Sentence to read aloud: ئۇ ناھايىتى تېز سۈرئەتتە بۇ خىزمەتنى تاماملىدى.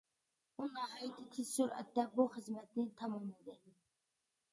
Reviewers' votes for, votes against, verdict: 2, 0, accepted